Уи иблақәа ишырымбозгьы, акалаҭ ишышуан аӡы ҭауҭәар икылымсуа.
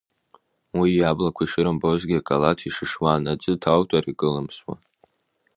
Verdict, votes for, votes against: rejected, 0, 2